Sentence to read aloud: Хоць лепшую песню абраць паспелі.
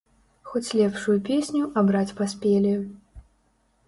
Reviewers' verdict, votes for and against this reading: accepted, 2, 0